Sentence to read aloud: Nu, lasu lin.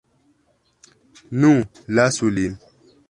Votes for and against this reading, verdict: 2, 0, accepted